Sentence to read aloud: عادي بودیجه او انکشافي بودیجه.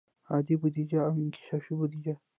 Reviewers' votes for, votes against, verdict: 0, 2, rejected